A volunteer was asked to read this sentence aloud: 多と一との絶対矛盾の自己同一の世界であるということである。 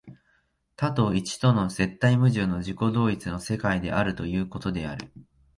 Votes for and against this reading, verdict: 0, 2, rejected